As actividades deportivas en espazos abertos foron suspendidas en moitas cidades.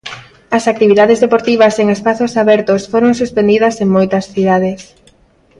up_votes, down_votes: 2, 0